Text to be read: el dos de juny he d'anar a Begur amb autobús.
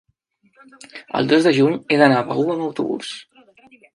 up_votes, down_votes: 1, 2